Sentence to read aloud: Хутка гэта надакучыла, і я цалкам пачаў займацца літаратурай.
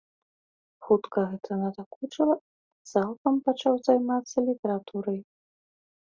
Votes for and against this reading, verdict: 0, 2, rejected